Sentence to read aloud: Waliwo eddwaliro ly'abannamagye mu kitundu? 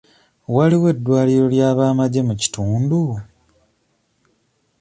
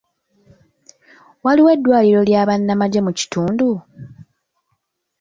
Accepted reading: second